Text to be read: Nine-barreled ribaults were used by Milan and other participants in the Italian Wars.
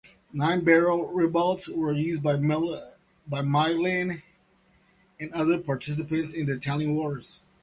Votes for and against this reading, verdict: 0, 2, rejected